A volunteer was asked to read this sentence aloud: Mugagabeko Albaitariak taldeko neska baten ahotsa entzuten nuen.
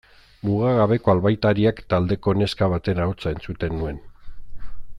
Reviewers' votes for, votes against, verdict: 2, 0, accepted